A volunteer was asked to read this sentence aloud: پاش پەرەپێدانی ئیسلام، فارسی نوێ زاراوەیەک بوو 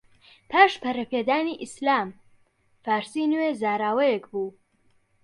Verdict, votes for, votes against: accepted, 2, 0